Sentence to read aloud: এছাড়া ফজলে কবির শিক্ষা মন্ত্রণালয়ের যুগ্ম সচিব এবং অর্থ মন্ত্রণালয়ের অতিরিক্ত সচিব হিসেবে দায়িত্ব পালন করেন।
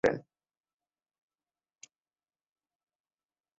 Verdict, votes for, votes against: rejected, 2, 12